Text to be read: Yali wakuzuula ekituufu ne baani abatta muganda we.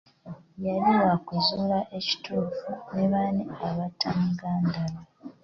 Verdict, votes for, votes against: accepted, 2, 0